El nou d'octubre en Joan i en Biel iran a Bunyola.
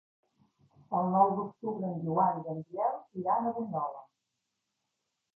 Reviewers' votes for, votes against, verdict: 1, 2, rejected